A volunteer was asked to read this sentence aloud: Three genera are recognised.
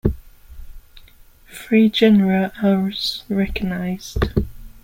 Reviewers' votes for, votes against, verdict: 0, 2, rejected